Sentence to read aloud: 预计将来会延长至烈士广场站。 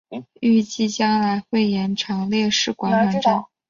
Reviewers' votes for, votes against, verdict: 2, 3, rejected